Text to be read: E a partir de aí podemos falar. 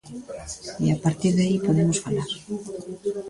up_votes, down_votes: 0, 2